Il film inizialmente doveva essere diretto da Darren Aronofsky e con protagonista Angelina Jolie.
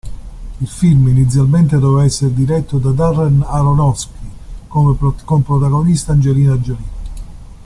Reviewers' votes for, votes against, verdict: 1, 2, rejected